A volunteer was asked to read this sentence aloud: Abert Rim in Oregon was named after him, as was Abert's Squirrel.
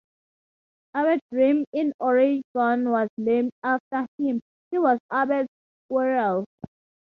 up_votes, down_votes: 2, 0